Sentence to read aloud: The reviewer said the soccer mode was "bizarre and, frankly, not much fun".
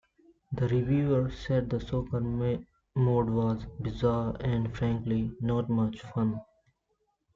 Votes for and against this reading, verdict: 0, 2, rejected